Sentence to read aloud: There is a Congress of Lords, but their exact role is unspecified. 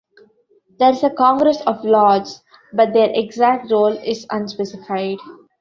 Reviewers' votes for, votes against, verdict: 2, 1, accepted